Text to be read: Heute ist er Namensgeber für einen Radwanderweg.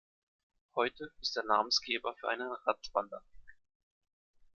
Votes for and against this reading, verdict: 0, 2, rejected